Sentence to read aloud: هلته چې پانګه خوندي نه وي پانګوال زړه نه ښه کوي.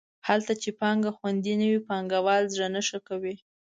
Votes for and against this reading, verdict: 2, 0, accepted